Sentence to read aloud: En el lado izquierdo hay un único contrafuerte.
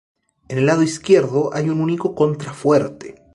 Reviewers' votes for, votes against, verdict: 2, 2, rejected